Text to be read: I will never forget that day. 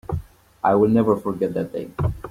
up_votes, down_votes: 2, 0